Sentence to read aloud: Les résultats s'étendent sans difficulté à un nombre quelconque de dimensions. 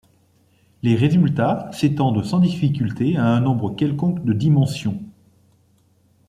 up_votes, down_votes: 2, 0